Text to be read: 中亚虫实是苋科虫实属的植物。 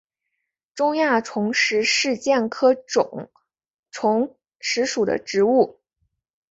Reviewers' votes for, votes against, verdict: 0, 2, rejected